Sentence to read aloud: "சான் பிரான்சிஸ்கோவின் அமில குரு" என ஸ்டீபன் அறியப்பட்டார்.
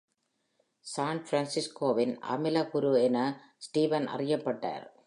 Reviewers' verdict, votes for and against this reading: accepted, 2, 0